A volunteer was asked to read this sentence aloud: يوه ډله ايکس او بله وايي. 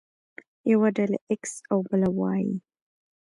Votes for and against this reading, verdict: 0, 2, rejected